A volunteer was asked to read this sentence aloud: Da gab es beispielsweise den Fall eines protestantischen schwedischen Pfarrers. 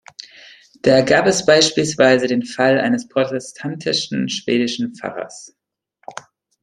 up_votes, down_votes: 2, 0